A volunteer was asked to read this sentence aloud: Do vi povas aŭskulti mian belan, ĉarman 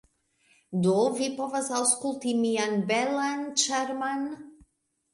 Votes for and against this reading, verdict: 2, 0, accepted